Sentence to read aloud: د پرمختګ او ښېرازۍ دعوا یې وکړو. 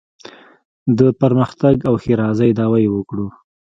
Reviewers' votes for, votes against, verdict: 2, 1, accepted